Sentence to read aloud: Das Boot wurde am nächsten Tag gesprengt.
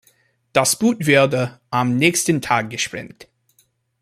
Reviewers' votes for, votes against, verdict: 1, 3, rejected